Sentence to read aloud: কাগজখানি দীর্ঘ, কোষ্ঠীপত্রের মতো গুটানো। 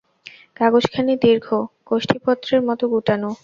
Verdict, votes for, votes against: accepted, 2, 0